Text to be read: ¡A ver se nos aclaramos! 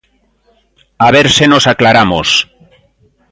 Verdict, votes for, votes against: accepted, 2, 0